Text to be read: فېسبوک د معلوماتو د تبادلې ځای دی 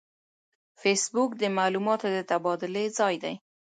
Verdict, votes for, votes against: accepted, 3, 0